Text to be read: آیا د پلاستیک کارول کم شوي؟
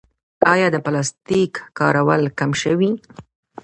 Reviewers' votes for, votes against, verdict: 1, 2, rejected